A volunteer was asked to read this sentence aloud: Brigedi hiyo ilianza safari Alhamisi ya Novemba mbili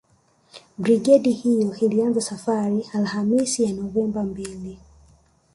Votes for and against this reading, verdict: 1, 2, rejected